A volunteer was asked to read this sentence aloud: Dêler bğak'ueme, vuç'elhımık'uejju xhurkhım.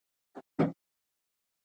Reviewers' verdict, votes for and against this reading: rejected, 0, 2